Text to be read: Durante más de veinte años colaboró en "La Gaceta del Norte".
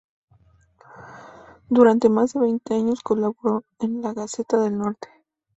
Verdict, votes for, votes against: accepted, 2, 0